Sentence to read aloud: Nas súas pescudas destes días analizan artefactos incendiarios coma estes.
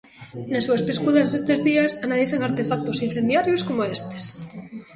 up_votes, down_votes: 2, 1